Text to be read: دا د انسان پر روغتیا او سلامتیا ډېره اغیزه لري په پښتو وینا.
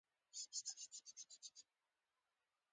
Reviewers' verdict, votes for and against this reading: rejected, 0, 2